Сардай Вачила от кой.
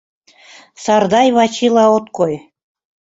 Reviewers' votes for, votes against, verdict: 2, 0, accepted